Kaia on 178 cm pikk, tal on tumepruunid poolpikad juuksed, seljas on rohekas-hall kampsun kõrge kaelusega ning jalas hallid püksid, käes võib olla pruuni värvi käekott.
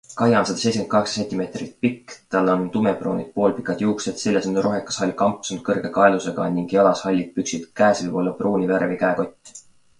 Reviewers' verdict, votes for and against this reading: rejected, 0, 2